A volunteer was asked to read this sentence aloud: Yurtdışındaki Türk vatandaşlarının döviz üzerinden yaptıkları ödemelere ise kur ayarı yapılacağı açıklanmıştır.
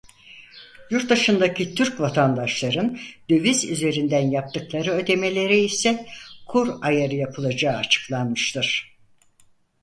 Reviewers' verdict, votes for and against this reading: rejected, 0, 4